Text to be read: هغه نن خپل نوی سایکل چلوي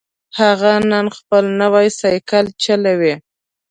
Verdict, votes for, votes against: accepted, 2, 0